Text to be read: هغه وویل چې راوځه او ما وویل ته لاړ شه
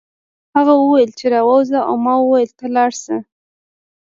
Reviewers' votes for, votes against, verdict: 2, 0, accepted